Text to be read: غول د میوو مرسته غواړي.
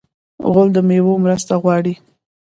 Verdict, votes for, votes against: rejected, 1, 2